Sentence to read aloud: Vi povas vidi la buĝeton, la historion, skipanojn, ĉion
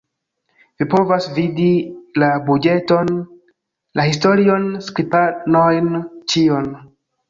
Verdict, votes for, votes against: rejected, 1, 2